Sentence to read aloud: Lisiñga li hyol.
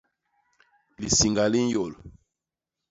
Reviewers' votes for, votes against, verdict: 1, 2, rejected